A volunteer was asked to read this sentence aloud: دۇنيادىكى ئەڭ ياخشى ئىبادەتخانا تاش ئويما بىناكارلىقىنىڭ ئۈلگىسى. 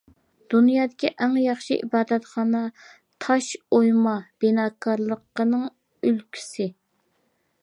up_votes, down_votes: 2, 0